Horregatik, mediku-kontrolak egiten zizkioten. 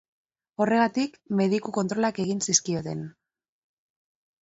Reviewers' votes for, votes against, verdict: 1, 2, rejected